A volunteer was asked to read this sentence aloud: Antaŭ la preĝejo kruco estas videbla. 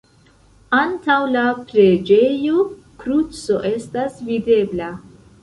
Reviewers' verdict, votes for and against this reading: accepted, 2, 0